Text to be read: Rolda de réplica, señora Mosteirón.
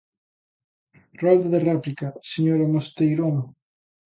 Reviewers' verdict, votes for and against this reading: accepted, 2, 0